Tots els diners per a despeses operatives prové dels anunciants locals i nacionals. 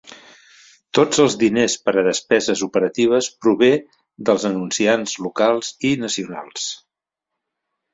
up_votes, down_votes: 1, 2